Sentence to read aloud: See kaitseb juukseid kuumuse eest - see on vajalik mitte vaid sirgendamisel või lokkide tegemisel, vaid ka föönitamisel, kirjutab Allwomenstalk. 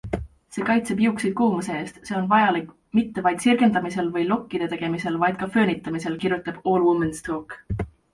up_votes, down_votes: 2, 0